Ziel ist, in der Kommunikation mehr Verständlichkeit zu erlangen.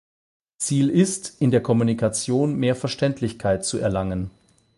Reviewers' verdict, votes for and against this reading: accepted, 8, 0